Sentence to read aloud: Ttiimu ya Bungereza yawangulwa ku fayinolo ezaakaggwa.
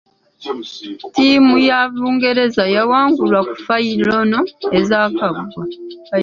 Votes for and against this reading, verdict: 1, 2, rejected